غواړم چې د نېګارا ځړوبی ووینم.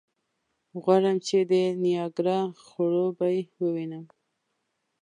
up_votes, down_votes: 0, 2